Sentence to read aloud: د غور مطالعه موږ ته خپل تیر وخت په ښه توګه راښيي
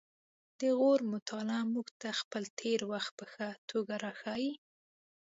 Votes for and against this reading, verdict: 2, 0, accepted